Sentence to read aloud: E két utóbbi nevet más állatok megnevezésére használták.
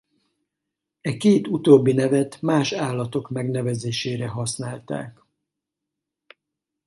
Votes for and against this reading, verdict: 4, 0, accepted